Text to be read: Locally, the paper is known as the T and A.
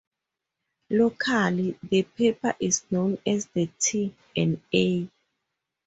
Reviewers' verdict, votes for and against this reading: rejected, 2, 4